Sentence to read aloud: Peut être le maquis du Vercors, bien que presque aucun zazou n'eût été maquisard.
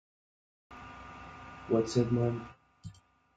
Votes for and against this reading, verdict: 0, 2, rejected